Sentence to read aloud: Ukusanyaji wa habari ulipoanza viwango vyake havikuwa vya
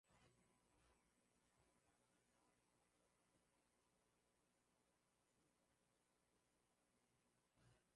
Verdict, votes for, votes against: rejected, 1, 2